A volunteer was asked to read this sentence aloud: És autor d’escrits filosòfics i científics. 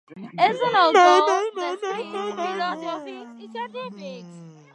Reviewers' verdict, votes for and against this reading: rejected, 0, 2